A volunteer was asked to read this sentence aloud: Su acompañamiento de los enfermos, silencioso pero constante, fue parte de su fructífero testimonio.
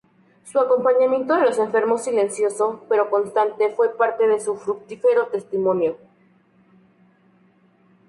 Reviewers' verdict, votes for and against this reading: rejected, 0, 2